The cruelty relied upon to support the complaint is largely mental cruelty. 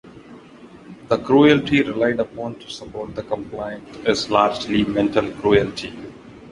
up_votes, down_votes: 2, 0